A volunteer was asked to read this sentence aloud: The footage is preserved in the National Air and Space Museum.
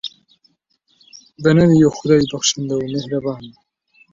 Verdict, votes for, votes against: rejected, 0, 2